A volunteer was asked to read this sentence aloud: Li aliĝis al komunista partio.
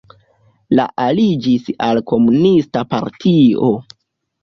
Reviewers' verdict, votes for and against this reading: rejected, 0, 2